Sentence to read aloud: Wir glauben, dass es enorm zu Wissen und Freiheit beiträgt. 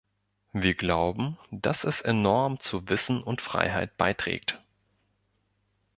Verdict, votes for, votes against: accepted, 2, 0